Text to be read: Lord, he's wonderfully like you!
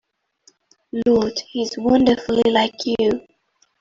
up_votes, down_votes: 2, 1